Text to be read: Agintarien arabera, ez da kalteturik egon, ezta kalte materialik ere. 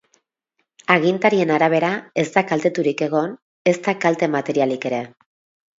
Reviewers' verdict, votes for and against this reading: rejected, 0, 2